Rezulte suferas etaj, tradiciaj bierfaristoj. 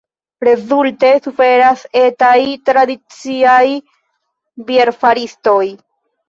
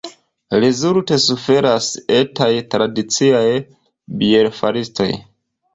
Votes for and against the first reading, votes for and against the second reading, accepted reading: 2, 1, 1, 2, first